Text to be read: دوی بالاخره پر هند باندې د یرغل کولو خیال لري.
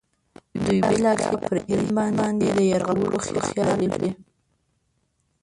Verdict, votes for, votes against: rejected, 0, 2